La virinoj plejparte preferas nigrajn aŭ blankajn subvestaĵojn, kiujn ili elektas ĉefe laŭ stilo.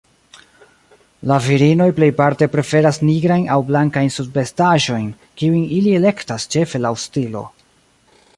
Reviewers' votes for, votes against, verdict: 2, 1, accepted